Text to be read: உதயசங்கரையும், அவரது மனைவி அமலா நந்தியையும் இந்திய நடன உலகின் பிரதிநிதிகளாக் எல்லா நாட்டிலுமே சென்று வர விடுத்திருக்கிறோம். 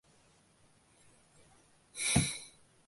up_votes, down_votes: 0, 2